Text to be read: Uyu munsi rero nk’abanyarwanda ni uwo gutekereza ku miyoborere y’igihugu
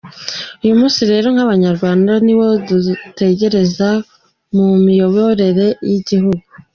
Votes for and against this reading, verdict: 2, 1, accepted